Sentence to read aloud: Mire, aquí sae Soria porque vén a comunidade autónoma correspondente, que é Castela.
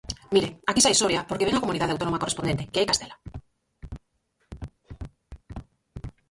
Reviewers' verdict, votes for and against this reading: rejected, 0, 4